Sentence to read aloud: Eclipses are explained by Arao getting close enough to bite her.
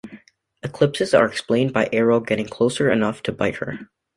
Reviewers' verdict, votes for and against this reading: rejected, 0, 2